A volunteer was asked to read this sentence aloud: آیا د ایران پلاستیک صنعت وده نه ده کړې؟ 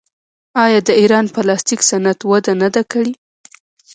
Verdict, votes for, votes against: rejected, 0, 2